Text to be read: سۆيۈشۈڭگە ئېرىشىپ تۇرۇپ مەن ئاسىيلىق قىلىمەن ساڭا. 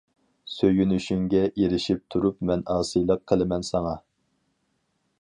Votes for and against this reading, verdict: 0, 4, rejected